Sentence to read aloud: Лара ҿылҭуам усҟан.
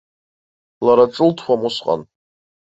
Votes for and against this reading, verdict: 2, 1, accepted